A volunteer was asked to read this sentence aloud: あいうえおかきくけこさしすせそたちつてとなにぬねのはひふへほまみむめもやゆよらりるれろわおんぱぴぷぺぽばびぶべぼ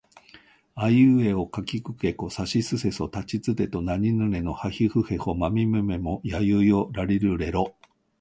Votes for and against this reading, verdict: 1, 2, rejected